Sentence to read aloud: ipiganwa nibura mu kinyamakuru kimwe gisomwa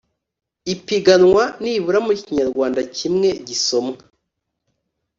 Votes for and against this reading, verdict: 1, 2, rejected